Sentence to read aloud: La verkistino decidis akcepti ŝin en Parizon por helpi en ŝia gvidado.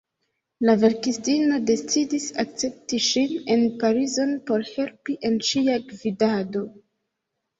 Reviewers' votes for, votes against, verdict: 2, 0, accepted